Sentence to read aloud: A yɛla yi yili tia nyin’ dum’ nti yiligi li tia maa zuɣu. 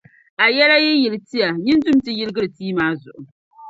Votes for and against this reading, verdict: 2, 1, accepted